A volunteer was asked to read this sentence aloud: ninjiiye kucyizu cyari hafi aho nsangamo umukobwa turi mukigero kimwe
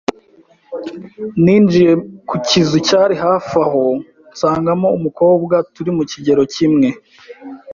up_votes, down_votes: 2, 0